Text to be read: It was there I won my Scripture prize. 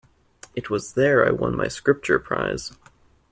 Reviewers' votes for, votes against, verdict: 2, 0, accepted